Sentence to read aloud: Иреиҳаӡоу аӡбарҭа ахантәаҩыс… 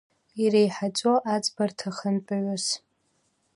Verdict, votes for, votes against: accepted, 2, 0